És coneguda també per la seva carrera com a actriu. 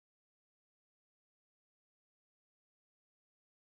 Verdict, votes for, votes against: rejected, 0, 2